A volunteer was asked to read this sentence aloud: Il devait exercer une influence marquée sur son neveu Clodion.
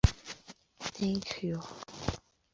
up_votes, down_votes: 0, 2